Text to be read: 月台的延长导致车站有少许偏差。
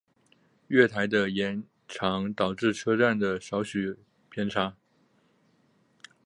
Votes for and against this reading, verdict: 0, 2, rejected